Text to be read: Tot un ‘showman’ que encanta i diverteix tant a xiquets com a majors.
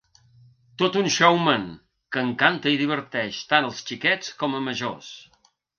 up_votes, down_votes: 1, 2